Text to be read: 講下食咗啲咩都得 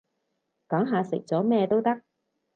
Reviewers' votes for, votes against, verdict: 2, 2, rejected